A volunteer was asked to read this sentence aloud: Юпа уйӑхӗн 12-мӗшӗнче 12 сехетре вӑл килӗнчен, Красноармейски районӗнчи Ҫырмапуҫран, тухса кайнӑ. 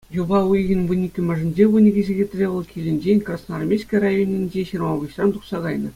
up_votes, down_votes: 0, 2